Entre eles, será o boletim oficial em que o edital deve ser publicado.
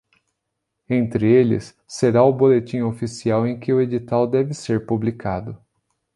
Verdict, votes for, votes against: accepted, 2, 0